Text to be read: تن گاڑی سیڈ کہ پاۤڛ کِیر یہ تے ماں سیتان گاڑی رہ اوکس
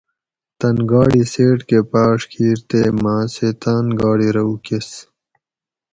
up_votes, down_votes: 2, 2